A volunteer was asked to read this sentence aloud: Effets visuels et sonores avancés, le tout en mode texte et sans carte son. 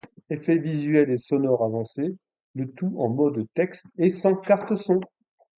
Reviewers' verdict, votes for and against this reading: rejected, 1, 2